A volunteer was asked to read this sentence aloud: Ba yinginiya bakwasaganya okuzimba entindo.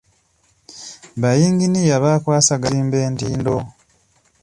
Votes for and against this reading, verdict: 1, 2, rejected